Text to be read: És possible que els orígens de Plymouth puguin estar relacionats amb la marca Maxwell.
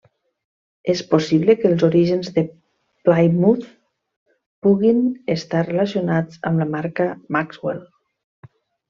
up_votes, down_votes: 1, 2